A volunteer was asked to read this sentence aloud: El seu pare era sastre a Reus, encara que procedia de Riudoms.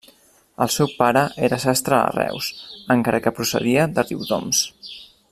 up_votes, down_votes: 3, 0